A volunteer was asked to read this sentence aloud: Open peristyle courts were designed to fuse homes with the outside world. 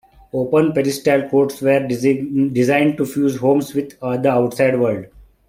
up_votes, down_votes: 1, 2